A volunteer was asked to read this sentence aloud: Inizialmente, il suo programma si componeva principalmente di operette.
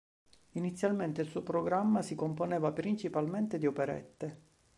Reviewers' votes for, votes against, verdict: 2, 0, accepted